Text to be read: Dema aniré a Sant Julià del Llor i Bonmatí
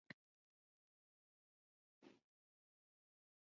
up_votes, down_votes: 0, 3